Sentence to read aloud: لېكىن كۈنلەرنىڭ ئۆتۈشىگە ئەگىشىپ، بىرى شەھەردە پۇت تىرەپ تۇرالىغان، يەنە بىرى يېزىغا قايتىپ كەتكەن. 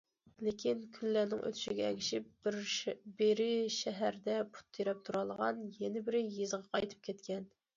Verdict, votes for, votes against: accepted, 2, 1